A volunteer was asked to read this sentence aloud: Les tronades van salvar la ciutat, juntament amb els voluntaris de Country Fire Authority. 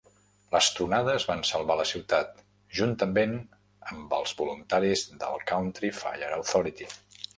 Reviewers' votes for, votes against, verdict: 1, 2, rejected